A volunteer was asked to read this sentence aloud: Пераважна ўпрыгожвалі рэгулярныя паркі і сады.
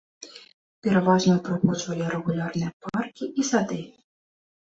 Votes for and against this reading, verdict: 2, 0, accepted